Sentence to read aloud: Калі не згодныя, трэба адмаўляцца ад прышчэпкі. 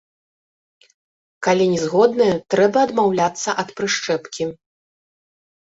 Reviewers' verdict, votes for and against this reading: rejected, 0, 3